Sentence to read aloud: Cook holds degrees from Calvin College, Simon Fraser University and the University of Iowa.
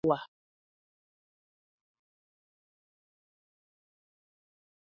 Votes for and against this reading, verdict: 0, 2, rejected